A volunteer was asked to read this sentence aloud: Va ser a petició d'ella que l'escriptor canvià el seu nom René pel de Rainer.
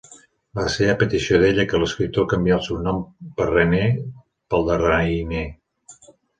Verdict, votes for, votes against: accepted, 2, 1